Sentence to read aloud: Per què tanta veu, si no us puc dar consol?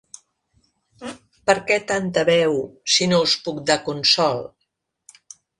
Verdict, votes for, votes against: accepted, 2, 0